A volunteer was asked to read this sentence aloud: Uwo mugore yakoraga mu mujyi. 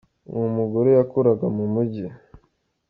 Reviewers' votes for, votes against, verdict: 3, 0, accepted